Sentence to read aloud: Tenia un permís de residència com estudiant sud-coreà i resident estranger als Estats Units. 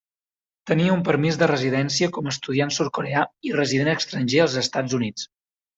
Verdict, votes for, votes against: rejected, 0, 2